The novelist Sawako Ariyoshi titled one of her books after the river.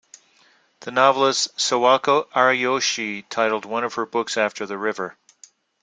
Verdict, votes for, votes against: accepted, 2, 0